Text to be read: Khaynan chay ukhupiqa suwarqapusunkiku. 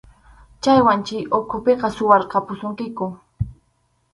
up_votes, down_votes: 0, 2